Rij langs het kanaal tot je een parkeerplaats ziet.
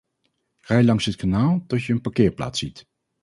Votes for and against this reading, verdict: 2, 0, accepted